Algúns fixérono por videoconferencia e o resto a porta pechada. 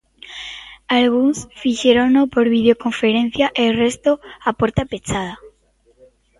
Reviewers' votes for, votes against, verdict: 1, 2, rejected